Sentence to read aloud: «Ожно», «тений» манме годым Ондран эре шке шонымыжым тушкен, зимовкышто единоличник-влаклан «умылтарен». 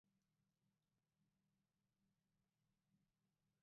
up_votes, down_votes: 1, 2